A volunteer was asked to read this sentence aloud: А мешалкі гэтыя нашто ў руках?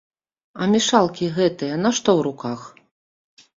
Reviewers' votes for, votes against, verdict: 1, 2, rejected